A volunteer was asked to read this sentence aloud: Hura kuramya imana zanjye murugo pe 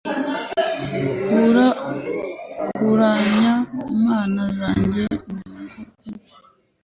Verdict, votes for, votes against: rejected, 1, 2